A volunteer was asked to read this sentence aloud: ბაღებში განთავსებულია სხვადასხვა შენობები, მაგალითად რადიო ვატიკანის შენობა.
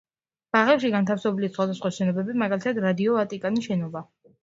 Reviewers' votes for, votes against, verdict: 0, 2, rejected